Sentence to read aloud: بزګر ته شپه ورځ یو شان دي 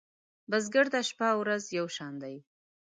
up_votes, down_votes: 0, 2